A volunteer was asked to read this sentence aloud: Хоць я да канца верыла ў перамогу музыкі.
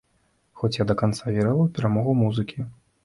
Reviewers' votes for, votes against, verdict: 2, 1, accepted